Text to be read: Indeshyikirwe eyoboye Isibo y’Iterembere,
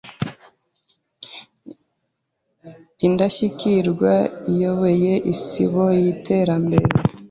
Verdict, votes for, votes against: rejected, 0, 3